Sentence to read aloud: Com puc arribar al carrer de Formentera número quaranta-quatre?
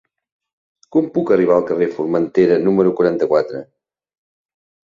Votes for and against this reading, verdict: 1, 2, rejected